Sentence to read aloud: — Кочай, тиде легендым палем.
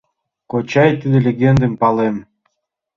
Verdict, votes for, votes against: accepted, 2, 0